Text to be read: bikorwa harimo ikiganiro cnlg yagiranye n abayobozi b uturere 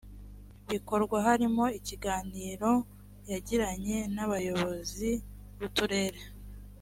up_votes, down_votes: 1, 2